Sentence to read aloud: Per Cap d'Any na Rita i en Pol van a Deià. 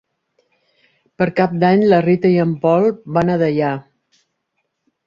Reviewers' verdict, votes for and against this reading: rejected, 1, 2